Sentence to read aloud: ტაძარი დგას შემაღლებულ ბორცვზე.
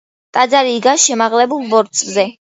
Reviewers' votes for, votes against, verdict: 2, 0, accepted